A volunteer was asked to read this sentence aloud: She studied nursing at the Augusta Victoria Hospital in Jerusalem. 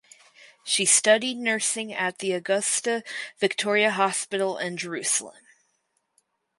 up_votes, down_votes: 4, 0